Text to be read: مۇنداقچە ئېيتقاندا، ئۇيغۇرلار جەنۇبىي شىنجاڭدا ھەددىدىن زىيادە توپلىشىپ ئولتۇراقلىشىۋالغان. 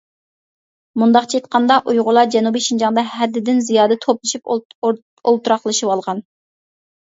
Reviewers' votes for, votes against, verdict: 1, 2, rejected